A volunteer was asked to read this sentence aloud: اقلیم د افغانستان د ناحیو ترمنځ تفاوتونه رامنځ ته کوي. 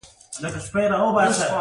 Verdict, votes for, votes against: accepted, 2, 1